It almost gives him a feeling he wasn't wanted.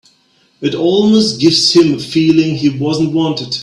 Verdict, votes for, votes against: accepted, 4, 0